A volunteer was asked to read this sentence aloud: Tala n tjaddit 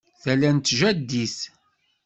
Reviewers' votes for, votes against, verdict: 2, 0, accepted